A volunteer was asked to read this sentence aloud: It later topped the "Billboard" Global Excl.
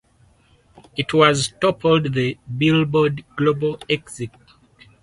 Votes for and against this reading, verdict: 2, 4, rejected